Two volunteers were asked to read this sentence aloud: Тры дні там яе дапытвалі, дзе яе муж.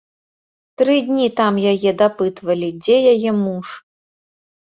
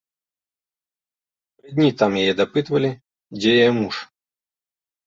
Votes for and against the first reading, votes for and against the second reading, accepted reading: 2, 0, 0, 2, first